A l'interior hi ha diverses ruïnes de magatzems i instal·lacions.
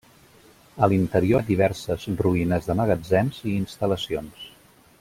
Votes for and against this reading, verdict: 1, 2, rejected